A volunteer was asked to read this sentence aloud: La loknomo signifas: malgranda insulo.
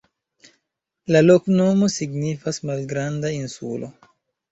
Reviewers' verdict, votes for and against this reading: accepted, 2, 0